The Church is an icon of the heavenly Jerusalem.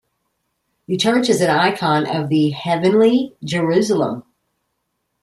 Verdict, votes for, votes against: accepted, 2, 0